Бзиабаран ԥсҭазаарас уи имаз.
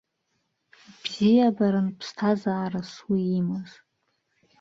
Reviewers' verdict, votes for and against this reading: rejected, 0, 2